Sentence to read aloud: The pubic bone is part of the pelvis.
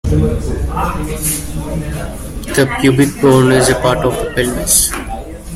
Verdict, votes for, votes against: rejected, 0, 2